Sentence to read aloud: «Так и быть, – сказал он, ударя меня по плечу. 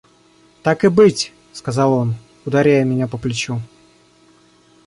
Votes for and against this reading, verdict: 0, 2, rejected